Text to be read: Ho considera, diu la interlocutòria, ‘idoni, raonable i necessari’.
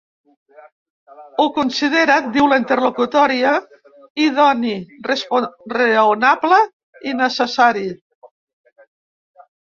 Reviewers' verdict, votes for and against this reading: rejected, 0, 2